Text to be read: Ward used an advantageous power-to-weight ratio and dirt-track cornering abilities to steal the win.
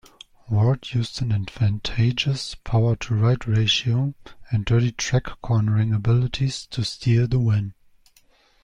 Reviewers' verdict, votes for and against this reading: rejected, 1, 2